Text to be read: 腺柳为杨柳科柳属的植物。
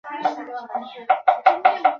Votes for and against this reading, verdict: 1, 2, rejected